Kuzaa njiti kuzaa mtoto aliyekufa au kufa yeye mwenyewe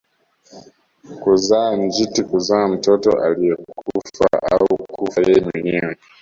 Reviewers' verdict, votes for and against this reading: rejected, 1, 2